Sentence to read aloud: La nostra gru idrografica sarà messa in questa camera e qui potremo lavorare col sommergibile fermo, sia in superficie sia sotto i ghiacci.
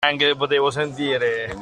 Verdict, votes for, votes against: rejected, 0, 2